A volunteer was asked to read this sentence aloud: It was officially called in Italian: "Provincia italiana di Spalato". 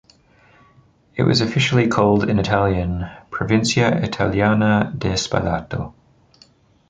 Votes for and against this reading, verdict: 2, 0, accepted